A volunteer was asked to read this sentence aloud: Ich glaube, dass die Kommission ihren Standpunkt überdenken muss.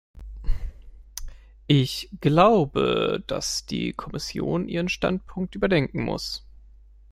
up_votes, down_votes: 2, 0